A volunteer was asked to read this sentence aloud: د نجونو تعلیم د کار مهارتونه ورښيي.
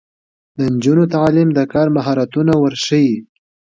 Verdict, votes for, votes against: accepted, 2, 0